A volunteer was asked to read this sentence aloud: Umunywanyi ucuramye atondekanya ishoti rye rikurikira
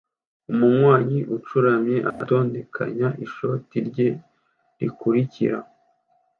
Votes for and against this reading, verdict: 2, 0, accepted